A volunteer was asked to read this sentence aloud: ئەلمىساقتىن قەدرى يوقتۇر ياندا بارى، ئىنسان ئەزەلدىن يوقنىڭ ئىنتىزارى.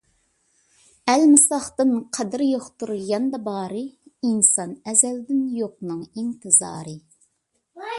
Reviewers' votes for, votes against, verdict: 2, 0, accepted